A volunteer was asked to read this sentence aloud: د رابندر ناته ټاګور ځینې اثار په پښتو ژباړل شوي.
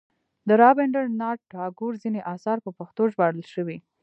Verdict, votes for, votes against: rejected, 0, 2